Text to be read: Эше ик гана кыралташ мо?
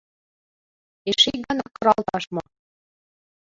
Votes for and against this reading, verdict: 2, 4, rejected